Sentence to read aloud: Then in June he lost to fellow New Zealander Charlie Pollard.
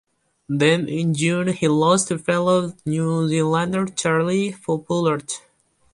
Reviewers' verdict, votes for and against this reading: rejected, 0, 2